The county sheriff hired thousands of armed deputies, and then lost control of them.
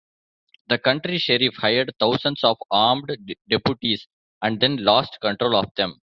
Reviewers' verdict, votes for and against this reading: rejected, 0, 2